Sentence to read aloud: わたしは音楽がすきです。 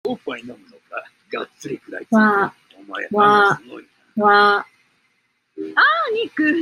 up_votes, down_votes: 0, 2